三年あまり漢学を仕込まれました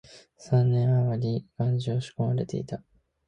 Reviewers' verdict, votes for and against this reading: rejected, 5, 7